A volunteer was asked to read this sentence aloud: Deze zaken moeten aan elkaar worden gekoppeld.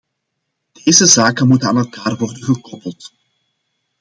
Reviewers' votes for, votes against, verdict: 2, 0, accepted